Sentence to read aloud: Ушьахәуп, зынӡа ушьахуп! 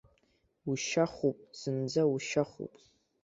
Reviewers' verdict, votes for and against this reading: accepted, 2, 0